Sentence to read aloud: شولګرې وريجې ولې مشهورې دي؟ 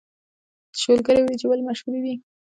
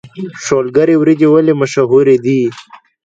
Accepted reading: second